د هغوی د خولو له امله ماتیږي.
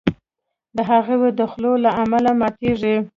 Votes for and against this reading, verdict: 2, 0, accepted